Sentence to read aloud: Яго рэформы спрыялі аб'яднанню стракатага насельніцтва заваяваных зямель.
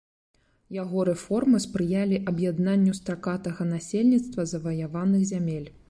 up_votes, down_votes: 2, 0